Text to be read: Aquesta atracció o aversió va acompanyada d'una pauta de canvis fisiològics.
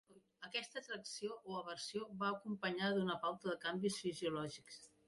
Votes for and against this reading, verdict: 2, 1, accepted